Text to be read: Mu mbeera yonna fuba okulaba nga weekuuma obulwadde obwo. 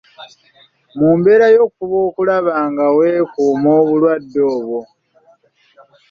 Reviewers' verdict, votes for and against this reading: rejected, 0, 2